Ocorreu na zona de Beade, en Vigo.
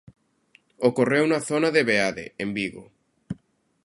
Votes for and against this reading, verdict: 2, 0, accepted